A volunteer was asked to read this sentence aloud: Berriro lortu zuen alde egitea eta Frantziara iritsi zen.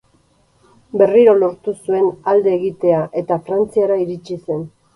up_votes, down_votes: 2, 0